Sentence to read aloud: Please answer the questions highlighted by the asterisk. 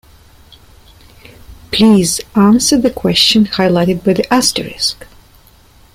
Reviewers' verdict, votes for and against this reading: rejected, 0, 3